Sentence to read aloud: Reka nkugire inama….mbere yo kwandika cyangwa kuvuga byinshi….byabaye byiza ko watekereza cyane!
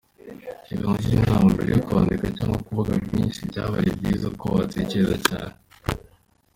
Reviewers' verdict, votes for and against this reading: accepted, 2, 1